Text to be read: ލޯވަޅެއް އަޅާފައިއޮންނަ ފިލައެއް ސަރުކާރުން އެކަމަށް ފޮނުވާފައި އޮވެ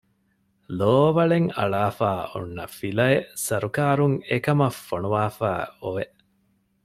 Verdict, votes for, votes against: accepted, 2, 0